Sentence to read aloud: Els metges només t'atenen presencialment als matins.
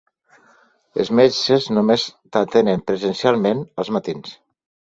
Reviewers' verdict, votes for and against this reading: accepted, 2, 0